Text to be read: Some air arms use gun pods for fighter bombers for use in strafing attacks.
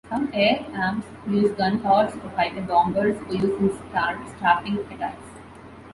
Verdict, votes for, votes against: rejected, 0, 2